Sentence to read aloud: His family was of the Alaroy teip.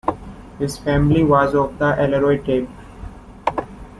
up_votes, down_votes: 2, 0